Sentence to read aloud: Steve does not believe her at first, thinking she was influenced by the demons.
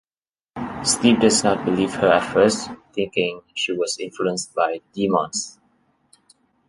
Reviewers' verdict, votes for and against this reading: rejected, 0, 2